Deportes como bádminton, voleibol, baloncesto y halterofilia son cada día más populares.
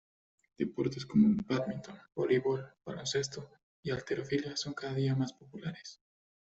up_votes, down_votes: 1, 2